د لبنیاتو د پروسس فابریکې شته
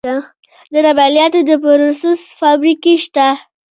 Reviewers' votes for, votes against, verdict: 1, 2, rejected